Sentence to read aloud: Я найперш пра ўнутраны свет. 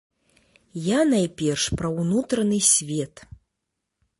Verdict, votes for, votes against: accepted, 2, 0